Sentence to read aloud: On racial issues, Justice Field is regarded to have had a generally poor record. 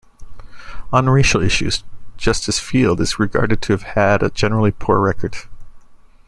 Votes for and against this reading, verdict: 2, 0, accepted